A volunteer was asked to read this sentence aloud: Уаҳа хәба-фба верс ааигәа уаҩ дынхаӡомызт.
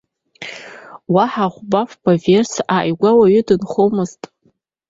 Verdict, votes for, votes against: rejected, 0, 2